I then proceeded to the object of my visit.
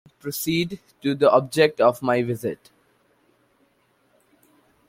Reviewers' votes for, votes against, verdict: 0, 3, rejected